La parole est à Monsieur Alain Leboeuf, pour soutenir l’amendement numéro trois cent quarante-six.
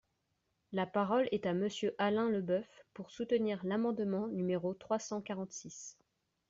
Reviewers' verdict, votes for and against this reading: accepted, 2, 0